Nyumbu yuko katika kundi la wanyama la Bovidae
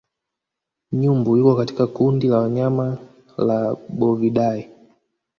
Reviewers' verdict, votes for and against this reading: rejected, 1, 2